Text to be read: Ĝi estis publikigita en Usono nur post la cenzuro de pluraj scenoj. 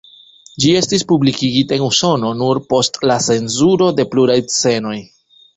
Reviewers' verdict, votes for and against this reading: rejected, 0, 2